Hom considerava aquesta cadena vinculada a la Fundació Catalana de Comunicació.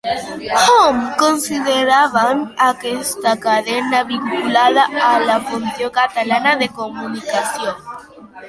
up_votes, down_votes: 0, 2